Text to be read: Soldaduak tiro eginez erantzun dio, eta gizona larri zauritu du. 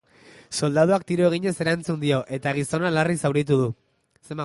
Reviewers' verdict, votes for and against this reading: rejected, 1, 2